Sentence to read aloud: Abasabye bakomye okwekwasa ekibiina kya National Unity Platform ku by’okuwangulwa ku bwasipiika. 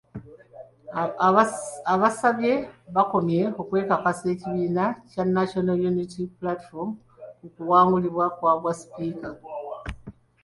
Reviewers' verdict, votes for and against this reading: rejected, 0, 2